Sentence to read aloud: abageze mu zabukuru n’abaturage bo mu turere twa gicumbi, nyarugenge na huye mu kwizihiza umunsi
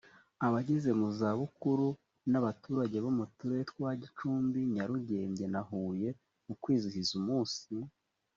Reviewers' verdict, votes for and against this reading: accepted, 2, 0